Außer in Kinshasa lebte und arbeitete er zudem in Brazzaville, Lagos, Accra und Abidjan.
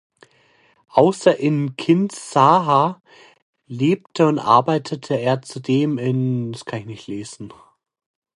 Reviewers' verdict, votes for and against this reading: rejected, 0, 2